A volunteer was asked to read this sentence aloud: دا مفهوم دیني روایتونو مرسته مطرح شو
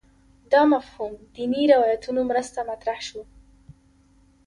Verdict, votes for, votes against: accepted, 2, 0